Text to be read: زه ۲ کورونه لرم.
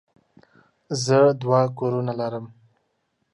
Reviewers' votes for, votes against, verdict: 0, 2, rejected